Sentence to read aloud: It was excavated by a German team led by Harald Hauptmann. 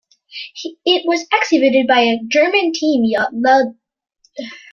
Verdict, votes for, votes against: rejected, 1, 2